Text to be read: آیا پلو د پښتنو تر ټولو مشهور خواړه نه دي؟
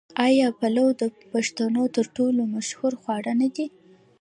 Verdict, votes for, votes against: rejected, 1, 2